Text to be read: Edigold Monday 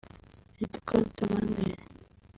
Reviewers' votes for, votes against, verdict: 0, 2, rejected